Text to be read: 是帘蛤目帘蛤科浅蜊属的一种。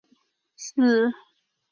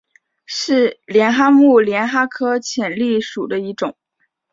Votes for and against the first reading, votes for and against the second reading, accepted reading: 0, 6, 2, 1, second